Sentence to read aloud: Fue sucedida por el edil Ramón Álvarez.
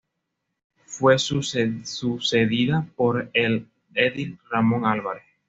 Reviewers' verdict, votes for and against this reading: accepted, 2, 0